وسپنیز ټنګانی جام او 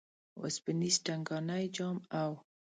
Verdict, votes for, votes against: accepted, 2, 0